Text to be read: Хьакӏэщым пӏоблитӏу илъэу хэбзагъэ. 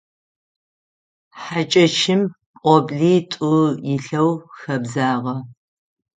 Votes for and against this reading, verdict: 6, 0, accepted